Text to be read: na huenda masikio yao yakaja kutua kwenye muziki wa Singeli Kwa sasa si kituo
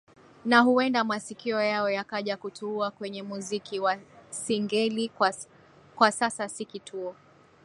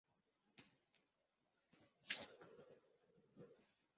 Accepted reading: first